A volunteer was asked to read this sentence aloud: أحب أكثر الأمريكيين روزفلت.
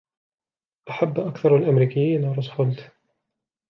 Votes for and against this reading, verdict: 2, 0, accepted